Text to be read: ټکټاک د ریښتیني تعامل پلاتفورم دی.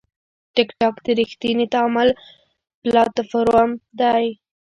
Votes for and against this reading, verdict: 1, 3, rejected